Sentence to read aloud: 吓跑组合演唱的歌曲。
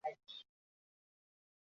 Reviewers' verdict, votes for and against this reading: rejected, 0, 3